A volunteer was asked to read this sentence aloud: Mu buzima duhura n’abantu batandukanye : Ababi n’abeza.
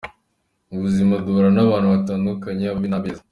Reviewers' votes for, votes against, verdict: 2, 0, accepted